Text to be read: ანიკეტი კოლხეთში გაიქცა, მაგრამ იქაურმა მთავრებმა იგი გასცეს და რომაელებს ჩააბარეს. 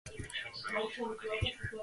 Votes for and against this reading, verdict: 0, 3, rejected